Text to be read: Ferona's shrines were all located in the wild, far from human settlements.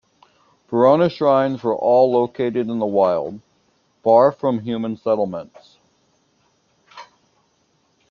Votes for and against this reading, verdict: 2, 1, accepted